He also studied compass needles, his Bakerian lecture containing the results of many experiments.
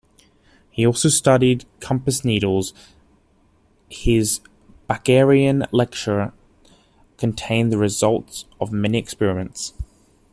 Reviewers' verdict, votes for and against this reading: accepted, 2, 1